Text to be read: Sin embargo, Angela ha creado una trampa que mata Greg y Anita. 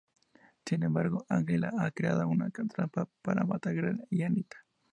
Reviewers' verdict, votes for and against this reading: rejected, 0, 2